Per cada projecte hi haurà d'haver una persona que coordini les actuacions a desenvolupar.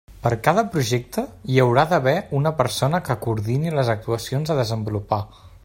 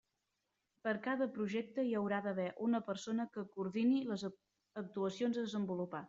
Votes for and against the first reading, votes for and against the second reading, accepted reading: 3, 0, 0, 2, first